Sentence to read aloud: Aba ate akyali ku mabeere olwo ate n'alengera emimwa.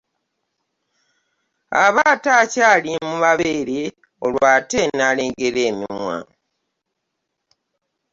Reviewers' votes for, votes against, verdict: 2, 1, accepted